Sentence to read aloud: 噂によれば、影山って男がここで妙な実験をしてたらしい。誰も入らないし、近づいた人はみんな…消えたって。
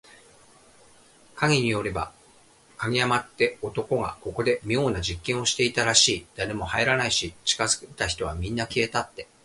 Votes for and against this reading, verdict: 1, 2, rejected